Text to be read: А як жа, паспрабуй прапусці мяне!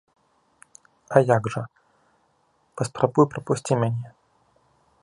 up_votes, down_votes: 2, 0